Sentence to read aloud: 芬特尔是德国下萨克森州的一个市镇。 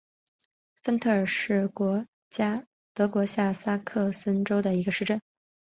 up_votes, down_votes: 2, 1